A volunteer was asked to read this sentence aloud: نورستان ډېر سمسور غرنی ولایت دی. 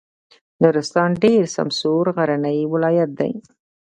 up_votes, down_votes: 0, 2